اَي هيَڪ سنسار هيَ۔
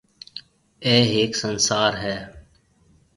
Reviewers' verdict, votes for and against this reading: accepted, 3, 0